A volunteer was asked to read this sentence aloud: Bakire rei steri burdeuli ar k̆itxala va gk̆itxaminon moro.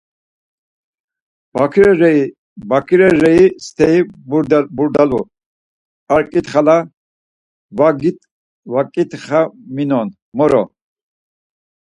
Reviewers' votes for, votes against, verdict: 0, 4, rejected